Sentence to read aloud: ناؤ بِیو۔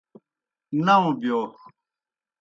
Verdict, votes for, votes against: accepted, 2, 0